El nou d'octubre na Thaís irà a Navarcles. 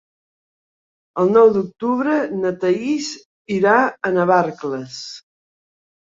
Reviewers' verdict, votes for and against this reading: accepted, 2, 0